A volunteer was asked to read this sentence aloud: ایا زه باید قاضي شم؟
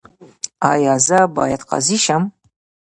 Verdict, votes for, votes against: rejected, 1, 2